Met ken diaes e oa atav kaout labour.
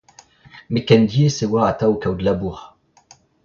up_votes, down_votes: 2, 0